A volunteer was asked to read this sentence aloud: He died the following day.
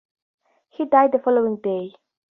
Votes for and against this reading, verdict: 4, 0, accepted